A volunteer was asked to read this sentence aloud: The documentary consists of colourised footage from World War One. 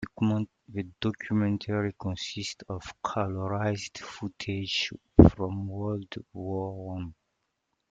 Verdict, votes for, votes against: accepted, 2, 1